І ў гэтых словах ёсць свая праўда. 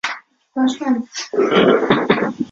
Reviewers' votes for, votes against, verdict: 0, 2, rejected